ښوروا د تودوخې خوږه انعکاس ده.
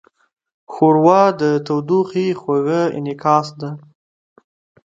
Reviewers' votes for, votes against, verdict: 2, 0, accepted